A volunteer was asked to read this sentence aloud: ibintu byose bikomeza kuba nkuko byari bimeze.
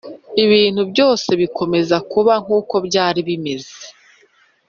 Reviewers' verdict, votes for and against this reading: accepted, 2, 0